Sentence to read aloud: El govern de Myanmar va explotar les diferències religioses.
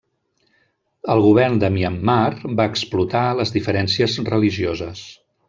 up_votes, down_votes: 3, 0